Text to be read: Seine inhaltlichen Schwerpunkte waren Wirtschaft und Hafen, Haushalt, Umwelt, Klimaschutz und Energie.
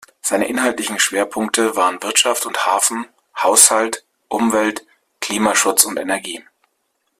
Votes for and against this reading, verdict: 2, 0, accepted